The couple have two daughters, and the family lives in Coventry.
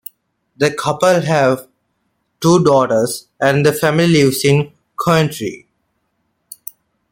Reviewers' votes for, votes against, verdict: 2, 1, accepted